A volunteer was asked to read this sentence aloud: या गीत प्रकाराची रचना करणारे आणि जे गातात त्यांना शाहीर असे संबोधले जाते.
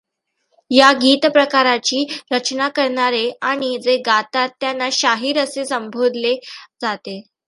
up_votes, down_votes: 2, 0